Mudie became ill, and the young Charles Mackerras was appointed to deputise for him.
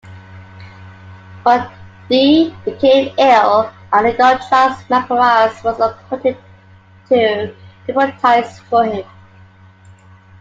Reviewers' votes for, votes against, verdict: 0, 2, rejected